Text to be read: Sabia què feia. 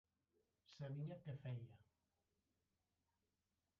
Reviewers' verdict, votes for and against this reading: rejected, 0, 2